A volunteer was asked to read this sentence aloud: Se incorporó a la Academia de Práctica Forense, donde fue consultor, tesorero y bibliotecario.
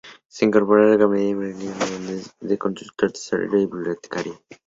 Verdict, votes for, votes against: rejected, 0, 2